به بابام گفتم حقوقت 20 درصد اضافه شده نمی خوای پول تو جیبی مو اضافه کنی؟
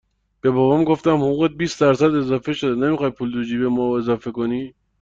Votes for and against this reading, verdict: 0, 2, rejected